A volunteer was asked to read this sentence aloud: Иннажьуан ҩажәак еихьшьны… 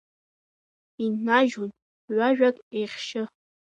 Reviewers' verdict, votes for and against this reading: rejected, 0, 2